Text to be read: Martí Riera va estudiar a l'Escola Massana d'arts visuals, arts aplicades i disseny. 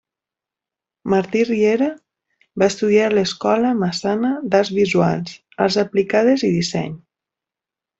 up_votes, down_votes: 2, 0